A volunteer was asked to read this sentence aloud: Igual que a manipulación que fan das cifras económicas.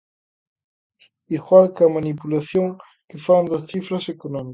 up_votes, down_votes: 1, 2